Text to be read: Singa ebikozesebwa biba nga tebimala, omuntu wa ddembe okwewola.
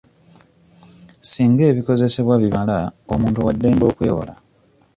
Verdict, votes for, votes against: rejected, 1, 2